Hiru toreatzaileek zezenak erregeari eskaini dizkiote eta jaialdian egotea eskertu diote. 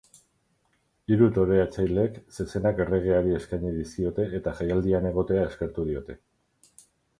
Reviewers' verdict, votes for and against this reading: rejected, 0, 4